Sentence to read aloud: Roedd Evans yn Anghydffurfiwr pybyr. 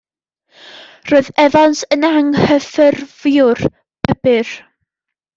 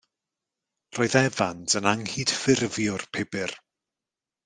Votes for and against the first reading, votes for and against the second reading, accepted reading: 0, 2, 2, 0, second